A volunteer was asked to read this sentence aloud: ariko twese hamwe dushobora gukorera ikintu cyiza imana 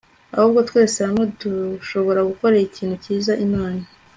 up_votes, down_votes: 2, 0